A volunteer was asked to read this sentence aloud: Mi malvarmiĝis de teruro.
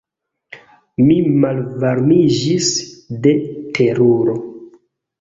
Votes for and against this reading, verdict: 1, 2, rejected